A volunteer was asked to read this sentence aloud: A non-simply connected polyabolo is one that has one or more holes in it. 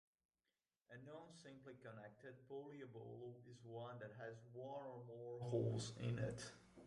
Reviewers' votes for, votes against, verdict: 1, 2, rejected